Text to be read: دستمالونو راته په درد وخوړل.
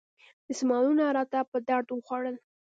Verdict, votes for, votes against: rejected, 1, 2